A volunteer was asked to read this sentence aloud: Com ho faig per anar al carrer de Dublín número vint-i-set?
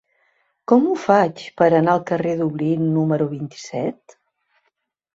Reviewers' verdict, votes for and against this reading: rejected, 0, 2